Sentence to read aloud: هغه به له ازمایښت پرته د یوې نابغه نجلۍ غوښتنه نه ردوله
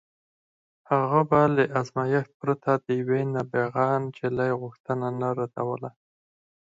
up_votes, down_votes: 6, 0